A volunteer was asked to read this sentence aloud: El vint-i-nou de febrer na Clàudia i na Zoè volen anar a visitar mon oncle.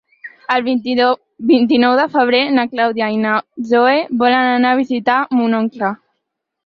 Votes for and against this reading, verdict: 0, 4, rejected